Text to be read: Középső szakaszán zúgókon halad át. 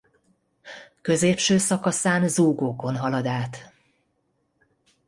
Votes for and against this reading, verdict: 2, 0, accepted